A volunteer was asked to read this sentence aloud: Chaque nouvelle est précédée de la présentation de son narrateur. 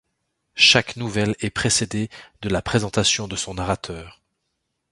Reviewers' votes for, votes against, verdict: 2, 0, accepted